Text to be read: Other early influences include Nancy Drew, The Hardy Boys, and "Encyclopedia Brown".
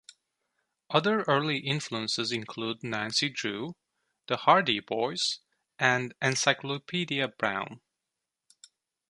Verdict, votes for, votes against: accepted, 2, 0